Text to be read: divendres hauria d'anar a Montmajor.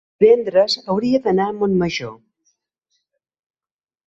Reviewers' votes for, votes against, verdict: 1, 2, rejected